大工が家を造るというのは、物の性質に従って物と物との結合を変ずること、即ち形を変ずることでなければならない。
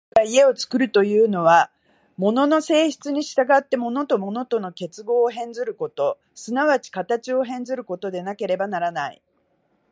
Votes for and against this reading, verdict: 0, 2, rejected